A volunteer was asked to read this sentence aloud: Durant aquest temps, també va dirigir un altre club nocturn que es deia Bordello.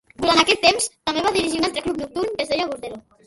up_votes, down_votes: 0, 2